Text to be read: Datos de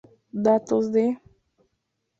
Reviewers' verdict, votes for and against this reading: accepted, 2, 0